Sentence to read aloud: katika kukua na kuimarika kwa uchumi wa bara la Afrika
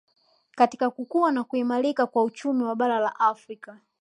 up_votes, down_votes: 2, 0